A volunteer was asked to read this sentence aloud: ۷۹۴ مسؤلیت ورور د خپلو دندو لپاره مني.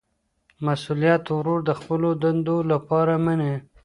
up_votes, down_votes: 0, 2